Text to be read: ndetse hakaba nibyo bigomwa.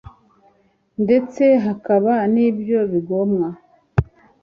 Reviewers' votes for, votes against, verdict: 2, 0, accepted